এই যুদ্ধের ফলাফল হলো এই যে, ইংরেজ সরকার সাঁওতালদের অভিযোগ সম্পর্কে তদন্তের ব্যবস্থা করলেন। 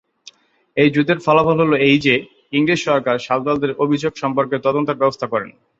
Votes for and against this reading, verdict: 2, 2, rejected